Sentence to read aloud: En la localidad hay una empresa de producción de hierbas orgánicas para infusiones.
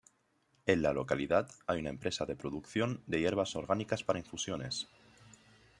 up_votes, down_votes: 2, 0